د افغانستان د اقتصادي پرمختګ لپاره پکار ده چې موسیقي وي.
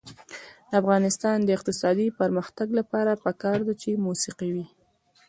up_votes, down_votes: 0, 2